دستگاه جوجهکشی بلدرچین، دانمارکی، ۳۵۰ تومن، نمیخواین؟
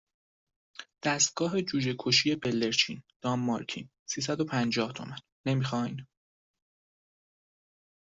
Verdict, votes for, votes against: rejected, 0, 2